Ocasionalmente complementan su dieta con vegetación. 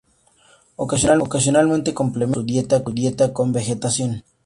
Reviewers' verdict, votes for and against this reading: rejected, 0, 4